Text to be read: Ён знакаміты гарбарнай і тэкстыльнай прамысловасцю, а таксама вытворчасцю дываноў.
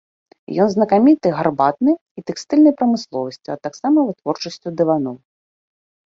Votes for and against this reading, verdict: 1, 2, rejected